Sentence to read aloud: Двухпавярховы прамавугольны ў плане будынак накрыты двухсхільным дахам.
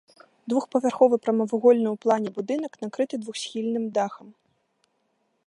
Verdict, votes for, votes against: accepted, 2, 0